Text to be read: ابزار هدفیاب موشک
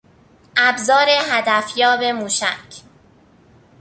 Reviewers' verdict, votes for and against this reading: accepted, 2, 0